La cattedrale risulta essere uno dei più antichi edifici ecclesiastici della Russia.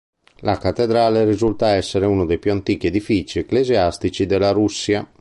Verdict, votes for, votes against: accepted, 5, 0